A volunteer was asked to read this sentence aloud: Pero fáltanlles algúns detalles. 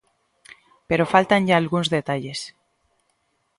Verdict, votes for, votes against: rejected, 1, 2